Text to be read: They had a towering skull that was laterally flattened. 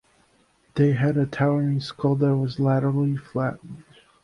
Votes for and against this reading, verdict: 1, 2, rejected